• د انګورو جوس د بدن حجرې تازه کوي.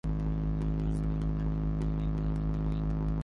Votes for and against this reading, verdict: 0, 2, rejected